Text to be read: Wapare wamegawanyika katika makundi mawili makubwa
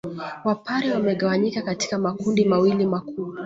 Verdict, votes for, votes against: accepted, 2, 0